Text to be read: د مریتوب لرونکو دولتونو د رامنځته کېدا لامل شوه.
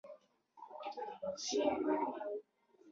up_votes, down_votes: 0, 2